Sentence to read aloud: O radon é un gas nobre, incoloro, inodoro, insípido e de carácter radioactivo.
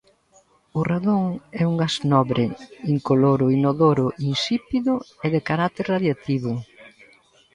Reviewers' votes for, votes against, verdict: 1, 2, rejected